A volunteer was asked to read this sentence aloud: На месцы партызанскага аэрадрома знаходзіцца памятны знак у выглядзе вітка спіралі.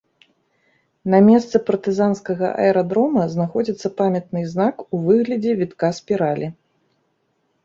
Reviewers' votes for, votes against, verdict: 2, 0, accepted